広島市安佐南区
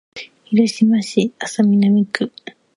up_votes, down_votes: 2, 1